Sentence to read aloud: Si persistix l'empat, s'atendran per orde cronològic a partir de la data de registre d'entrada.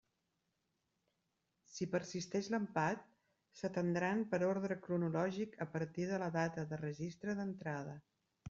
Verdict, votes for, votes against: rejected, 1, 2